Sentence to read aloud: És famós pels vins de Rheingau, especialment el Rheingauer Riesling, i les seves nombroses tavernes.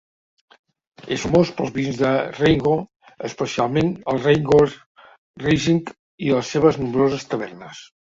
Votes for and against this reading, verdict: 1, 2, rejected